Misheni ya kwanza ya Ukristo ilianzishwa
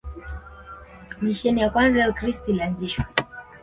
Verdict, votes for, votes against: accepted, 2, 0